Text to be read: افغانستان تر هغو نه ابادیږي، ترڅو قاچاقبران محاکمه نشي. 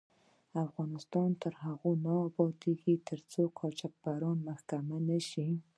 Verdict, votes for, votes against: accepted, 2, 0